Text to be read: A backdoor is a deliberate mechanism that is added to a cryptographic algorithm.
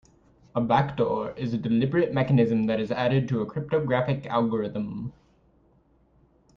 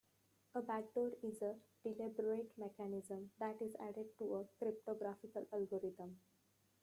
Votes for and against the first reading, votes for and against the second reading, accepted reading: 2, 0, 0, 2, first